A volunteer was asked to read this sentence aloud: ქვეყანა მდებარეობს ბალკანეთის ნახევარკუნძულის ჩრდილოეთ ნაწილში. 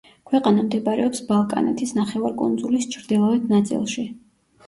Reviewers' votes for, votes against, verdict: 2, 0, accepted